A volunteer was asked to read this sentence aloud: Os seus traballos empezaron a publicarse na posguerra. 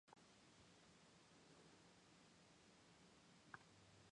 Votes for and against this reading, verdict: 0, 4, rejected